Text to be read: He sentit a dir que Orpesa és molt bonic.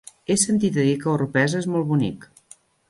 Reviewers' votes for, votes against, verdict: 1, 2, rejected